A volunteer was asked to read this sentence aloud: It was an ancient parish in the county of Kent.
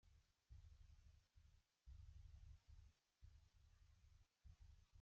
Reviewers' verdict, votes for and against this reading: rejected, 0, 2